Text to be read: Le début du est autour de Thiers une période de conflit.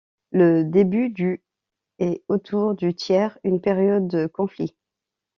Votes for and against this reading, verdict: 1, 2, rejected